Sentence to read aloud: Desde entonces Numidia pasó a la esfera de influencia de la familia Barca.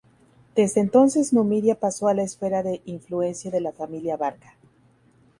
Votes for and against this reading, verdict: 0, 2, rejected